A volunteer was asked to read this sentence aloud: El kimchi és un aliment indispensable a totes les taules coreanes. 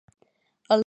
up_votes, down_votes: 1, 2